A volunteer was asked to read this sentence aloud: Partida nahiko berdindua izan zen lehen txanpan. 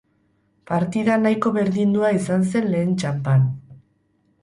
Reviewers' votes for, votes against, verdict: 4, 0, accepted